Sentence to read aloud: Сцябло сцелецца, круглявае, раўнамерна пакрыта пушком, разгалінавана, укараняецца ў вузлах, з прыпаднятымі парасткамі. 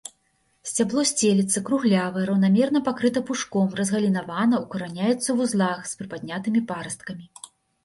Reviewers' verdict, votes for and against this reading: accepted, 2, 0